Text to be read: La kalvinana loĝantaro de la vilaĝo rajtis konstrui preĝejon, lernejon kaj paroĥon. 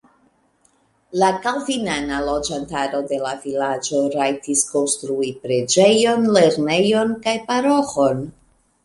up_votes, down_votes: 2, 0